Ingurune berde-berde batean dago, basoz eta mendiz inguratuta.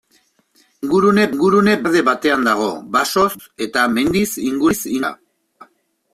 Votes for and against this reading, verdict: 0, 3, rejected